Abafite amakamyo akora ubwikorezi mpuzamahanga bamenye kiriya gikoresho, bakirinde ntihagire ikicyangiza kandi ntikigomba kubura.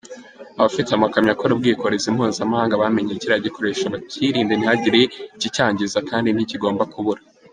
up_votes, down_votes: 2, 0